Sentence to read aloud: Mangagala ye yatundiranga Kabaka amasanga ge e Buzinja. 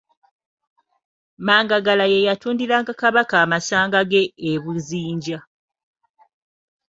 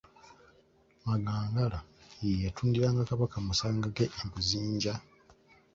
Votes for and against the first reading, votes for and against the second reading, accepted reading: 4, 0, 0, 2, first